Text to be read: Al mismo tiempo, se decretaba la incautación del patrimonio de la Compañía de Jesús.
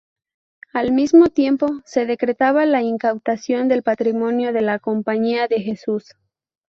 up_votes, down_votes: 0, 2